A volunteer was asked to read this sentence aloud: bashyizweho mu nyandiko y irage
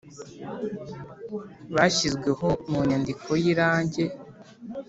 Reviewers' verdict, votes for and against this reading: rejected, 1, 2